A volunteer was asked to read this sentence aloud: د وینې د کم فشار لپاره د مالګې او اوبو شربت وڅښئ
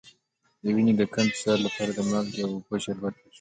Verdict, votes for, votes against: accepted, 2, 0